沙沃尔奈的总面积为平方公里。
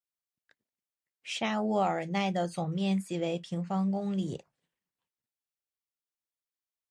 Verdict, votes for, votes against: accepted, 4, 0